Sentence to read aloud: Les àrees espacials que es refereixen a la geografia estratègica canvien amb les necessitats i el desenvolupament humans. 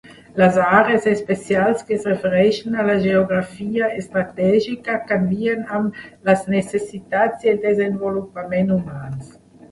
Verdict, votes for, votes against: rejected, 0, 2